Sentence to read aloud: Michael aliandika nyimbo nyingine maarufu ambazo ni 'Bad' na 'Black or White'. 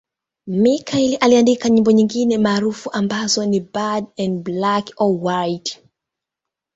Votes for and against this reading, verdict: 2, 0, accepted